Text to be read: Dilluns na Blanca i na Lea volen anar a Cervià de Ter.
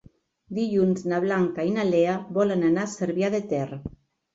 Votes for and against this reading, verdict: 3, 0, accepted